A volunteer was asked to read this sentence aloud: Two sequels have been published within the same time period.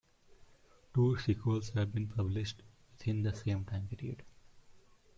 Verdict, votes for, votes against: rejected, 1, 2